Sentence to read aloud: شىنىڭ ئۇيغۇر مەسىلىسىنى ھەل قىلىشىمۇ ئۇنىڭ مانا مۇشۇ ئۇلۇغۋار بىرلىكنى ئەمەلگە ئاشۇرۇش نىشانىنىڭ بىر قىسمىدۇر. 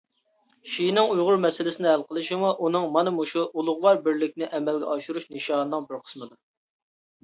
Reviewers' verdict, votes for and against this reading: accepted, 2, 1